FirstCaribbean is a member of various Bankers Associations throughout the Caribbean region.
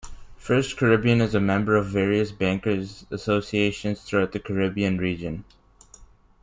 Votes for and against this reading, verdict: 2, 0, accepted